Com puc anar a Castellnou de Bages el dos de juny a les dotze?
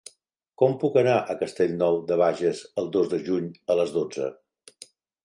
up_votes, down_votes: 3, 0